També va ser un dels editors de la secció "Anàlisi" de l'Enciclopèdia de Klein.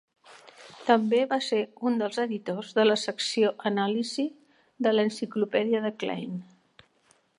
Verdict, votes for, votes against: accepted, 3, 0